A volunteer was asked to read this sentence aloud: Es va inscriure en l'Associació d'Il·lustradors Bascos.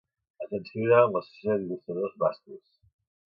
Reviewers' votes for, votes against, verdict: 0, 2, rejected